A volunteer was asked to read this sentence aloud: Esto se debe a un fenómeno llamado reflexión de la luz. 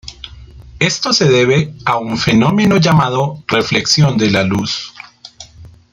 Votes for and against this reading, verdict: 2, 0, accepted